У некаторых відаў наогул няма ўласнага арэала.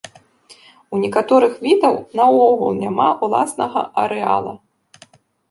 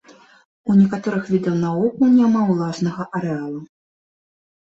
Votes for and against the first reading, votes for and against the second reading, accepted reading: 2, 1, 1, 2, first